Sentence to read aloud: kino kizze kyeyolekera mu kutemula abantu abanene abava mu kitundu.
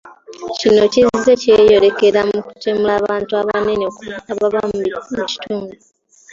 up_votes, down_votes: 2, 0